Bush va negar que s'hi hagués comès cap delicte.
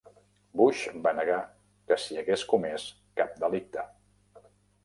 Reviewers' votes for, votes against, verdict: 3, 0, accepted